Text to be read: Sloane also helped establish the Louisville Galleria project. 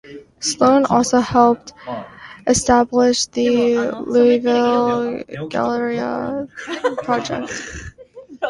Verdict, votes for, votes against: rejected, 0, 2